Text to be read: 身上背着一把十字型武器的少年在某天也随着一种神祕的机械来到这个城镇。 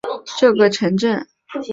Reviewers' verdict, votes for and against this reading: rejected, 0, 3